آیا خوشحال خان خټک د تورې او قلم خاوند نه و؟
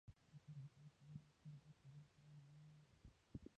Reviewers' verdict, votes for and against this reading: rejected, 0, 2